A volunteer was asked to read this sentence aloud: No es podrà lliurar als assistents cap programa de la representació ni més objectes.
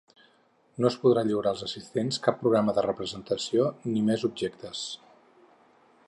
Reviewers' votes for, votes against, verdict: 0, 4, rejected